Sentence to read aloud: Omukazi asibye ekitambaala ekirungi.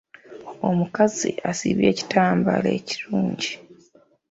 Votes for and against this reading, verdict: 2, 0, accepted